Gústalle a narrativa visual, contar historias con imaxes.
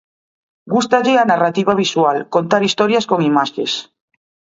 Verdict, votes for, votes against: rejected, 1, 2